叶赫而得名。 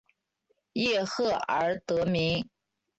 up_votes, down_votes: 3, 1